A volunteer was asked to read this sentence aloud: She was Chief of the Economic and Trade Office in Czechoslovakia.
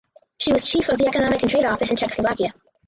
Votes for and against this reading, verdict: 2, 2, rejected